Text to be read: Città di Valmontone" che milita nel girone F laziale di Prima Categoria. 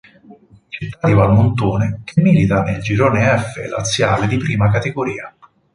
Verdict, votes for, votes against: rejected, 2, 4